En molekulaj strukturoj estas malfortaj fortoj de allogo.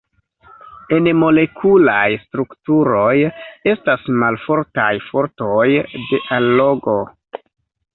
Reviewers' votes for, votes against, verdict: 1, 2, rejected